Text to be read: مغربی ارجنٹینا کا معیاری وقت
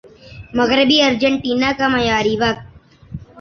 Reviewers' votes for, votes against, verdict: 3, 0, accepted